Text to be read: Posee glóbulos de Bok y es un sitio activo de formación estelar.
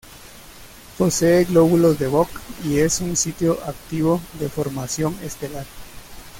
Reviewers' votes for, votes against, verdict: 2, 0, accepted